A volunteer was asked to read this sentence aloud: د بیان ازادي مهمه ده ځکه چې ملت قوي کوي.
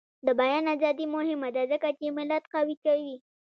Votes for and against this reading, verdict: 1, 2, rejected